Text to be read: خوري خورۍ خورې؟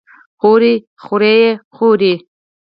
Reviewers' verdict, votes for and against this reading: rejected, 0, 4